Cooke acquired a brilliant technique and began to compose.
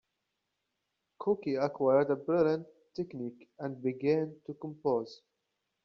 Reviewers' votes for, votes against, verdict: 0, 2, rejected